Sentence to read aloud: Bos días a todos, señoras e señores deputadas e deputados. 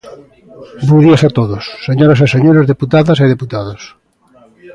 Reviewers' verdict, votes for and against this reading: rejected, 0, 2